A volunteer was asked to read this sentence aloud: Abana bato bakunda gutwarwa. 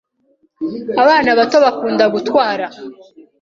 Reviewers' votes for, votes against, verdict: 2, 1, accepted